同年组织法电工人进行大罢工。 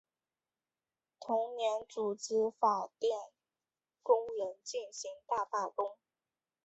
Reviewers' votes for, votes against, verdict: 2, 0, accepted